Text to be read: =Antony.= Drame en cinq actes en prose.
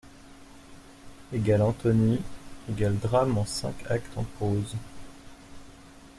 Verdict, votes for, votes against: rejected, 0, 2